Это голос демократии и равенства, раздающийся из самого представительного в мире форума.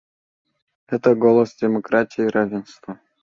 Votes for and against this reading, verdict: 0, 2, rejected